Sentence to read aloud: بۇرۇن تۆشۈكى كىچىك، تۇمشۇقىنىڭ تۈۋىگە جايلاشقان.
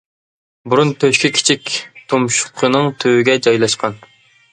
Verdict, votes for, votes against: accepted, 2, 0